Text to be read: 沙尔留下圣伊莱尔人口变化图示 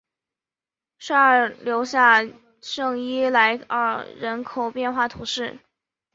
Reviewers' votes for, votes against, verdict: 0, 2, rejected